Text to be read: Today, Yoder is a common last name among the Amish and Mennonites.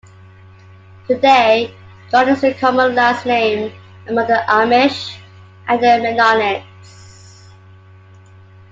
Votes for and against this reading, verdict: 2, 1, accepted